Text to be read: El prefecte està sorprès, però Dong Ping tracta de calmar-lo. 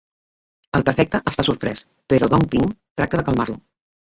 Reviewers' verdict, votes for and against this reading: rejected, 0, 2